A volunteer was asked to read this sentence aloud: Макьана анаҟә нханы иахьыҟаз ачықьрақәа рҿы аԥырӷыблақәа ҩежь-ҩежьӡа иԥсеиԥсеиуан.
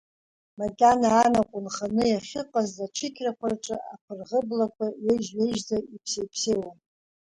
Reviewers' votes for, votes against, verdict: 2, 1, accepted